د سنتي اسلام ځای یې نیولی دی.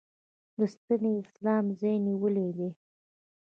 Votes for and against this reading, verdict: 2, 0, accepted